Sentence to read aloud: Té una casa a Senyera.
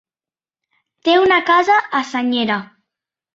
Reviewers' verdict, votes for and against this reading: accepted, 2, 0